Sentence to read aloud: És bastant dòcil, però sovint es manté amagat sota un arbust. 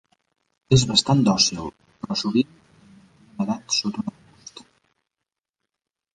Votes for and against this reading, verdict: 0, 2, rejected